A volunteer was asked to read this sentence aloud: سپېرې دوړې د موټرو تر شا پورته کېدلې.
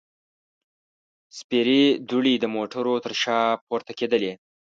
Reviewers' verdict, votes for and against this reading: accepted, 2, 0